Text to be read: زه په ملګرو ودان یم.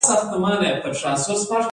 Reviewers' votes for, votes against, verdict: 0, 2, rejected